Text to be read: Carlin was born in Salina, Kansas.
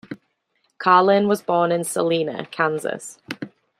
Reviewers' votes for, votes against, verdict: 2, 0, accepted